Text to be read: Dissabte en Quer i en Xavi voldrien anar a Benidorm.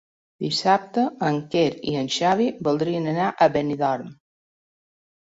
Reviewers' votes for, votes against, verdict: 3, 0, accepted